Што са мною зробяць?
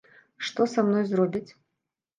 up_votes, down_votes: 1, 2